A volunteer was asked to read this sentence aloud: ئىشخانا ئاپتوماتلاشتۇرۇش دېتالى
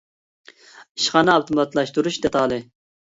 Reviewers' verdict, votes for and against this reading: accepted, 2, 0